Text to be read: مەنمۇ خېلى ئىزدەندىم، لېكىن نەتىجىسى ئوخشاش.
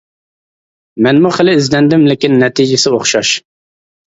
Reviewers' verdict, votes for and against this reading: accepted, 2, 0